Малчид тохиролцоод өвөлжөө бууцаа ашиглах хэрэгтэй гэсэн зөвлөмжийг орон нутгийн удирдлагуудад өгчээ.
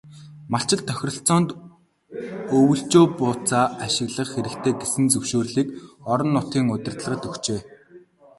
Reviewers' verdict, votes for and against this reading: rejected, 0, 2